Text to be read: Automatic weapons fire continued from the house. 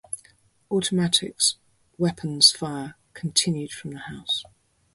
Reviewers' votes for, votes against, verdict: 0, 4, rejected